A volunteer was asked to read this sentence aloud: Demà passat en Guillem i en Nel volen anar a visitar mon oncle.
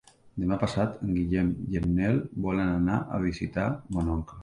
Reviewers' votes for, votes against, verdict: 3, 1, accepted